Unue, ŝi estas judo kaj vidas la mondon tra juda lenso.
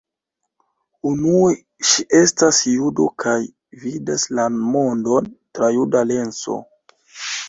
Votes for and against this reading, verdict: 2, 1, accepted